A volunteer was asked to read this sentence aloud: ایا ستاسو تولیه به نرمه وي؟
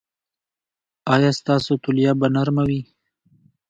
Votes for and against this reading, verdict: 2, 1, accepted